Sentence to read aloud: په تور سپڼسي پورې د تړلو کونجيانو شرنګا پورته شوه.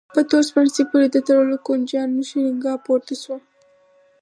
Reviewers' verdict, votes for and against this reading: accepted, 4, 0